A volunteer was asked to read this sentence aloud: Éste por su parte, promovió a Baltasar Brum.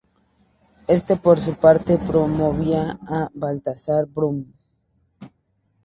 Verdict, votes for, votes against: rejected, 0, 2